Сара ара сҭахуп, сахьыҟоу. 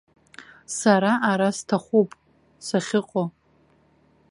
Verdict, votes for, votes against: accepted, 2, 0